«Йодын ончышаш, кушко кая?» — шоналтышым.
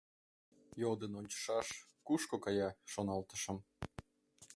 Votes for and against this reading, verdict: 2, 0, accepted